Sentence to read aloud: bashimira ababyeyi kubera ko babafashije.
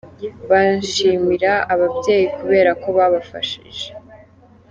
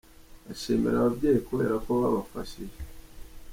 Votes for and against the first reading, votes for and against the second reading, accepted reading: 0, 2, 2, 0, second